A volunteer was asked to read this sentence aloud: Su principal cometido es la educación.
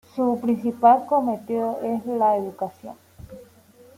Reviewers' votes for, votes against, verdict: 0, 2, rejected